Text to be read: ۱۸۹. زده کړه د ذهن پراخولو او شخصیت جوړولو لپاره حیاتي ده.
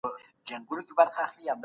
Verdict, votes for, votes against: rejected, 0, 2